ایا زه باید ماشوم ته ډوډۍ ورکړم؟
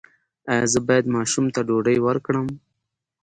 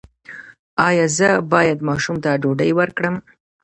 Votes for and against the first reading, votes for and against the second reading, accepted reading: 2, 0, 1, 2, first